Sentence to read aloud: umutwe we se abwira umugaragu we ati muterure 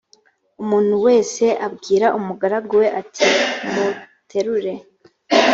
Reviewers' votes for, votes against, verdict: 1, 3, rejected